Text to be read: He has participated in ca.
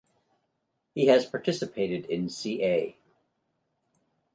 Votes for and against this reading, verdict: 2, 0, accepted